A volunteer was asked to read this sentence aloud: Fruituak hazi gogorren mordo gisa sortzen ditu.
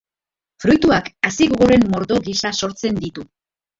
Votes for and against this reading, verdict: 3, 1, accepted